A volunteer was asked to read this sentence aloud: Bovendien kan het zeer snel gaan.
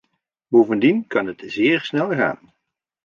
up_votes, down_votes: 1, 2